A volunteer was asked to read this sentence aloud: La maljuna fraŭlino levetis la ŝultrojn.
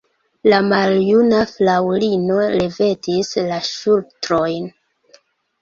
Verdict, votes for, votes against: rejected, 1, 2